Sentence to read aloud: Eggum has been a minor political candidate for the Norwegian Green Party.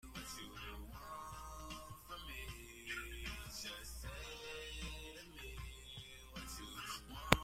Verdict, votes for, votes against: rejected, 0, 2